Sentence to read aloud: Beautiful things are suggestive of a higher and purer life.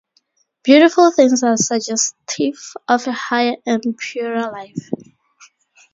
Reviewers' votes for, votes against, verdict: 0, 2, rejected